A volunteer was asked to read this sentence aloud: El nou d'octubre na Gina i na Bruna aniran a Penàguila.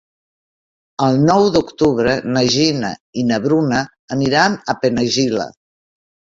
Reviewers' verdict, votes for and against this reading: rejected, 0, 2